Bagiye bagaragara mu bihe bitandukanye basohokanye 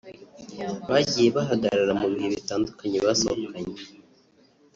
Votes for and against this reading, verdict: 1, 2, rejected